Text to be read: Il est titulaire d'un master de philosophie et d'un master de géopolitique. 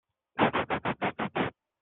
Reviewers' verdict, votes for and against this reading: rejected, 0, 2